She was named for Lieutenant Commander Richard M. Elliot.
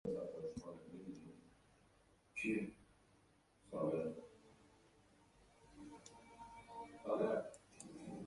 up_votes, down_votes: 0, 2